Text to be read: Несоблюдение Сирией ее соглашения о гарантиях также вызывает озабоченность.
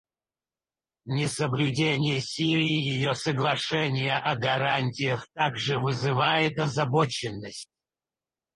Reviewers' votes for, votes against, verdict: 0, 4, rejected